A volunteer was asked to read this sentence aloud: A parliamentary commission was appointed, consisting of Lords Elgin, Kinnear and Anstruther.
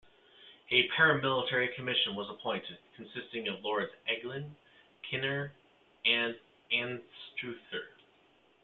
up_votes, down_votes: 0, 2